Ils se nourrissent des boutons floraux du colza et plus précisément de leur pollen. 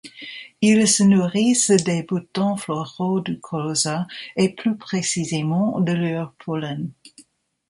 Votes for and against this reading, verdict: 2, 1, accepted